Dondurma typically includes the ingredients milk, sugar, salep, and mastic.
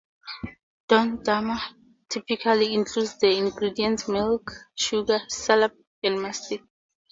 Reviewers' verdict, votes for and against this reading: accepted, 4, 0